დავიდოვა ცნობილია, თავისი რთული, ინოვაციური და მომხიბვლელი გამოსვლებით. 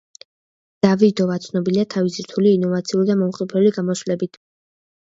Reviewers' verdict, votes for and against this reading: rejected, 0, 2